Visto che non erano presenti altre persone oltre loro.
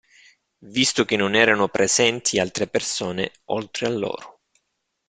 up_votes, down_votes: 2, 1